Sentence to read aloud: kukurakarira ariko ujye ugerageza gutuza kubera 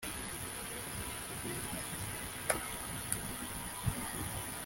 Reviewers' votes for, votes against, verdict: 0, 2, rejected